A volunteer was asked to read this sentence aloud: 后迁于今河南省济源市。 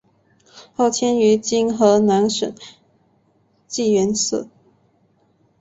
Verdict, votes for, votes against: accepted, 10, 0